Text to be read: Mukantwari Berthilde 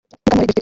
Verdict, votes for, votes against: rejected, 2, 3